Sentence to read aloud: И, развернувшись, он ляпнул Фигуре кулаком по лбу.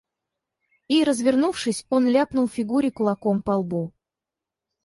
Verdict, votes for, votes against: accepted, 4, 2